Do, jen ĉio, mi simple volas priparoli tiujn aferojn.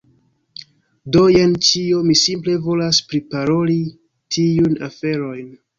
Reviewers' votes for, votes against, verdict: 1, 2, rejected